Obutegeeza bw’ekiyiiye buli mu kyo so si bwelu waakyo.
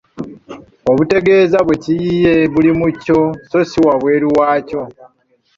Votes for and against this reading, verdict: 1, 2, rejected